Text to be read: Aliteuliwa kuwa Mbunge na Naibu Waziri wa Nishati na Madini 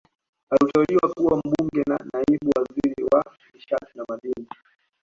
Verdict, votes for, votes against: accepted, 2, 1